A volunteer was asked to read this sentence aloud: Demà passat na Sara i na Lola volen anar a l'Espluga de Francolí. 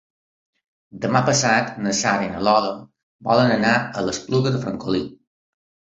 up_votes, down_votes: 2, 0